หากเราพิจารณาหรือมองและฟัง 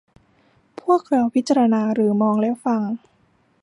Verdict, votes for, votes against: rejected, 1, 2